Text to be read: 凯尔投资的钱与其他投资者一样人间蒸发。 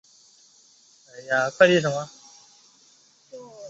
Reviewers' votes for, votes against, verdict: 0, 3, rejected